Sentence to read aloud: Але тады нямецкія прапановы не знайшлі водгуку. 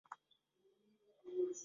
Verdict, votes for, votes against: rejected, 0, 3